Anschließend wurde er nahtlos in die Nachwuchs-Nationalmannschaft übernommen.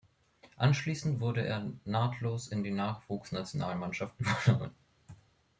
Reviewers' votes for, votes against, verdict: 1, 2, rejected